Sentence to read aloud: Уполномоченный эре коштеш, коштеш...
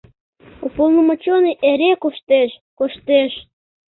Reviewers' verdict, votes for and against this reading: rejected, 0, 2